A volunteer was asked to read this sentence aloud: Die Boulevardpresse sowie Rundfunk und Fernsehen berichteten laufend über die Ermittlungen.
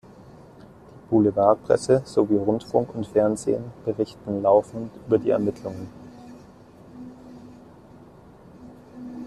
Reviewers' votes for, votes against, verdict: 1, 2, rejected